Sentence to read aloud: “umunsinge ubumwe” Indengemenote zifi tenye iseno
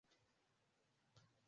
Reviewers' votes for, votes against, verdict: 0, 2, rejected